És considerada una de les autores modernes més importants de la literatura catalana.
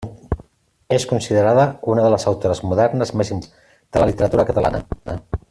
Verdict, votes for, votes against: rejected, 0, 2